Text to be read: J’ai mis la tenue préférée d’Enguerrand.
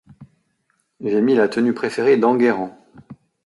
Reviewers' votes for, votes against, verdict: 2, 0, accepted